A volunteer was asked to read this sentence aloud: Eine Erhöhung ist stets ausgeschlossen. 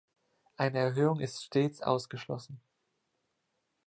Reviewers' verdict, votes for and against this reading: accepted, 2, 0